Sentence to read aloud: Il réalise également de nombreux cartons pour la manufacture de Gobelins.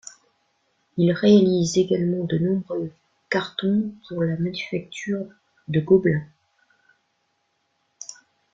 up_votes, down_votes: 0, 2